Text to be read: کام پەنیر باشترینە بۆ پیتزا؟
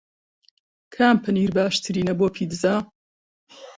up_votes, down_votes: 2, 0